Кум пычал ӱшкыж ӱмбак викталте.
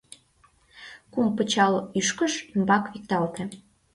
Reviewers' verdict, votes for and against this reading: accepted, 2, 0